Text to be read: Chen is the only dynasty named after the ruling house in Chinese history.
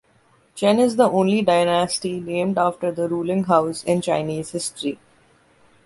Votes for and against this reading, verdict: 2, 0, accepted